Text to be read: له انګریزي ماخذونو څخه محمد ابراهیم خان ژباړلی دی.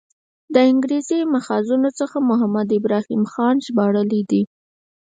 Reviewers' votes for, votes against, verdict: 6, 2, accepted